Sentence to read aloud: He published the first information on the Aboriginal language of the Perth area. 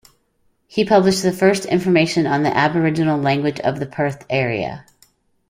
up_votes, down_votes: 2, 0